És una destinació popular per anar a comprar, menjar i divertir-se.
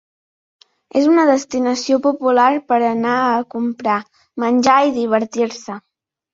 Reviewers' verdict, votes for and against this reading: accepted, 3, 0